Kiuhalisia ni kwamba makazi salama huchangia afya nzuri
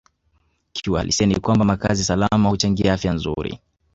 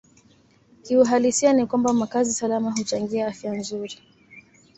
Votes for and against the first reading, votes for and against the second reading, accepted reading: 1, 2, 2, 0, second